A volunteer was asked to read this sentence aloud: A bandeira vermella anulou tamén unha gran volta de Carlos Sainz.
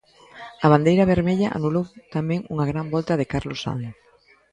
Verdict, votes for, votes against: accepted, 2, 0